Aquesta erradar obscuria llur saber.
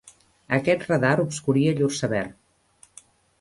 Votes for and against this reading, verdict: 0, 2, rejected